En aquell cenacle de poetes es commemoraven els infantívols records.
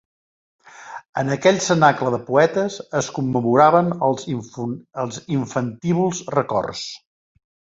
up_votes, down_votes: 0, 2